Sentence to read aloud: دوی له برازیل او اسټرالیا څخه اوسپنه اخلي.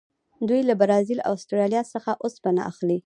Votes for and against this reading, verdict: 2, 0, accepted